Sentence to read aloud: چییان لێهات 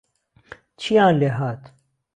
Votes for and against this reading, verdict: 2, 0, accepted